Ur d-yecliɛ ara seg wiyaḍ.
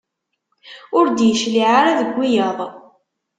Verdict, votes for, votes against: rejected, 1, 2